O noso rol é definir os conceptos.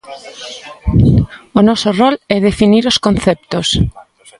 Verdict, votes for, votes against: accepted, 2, 0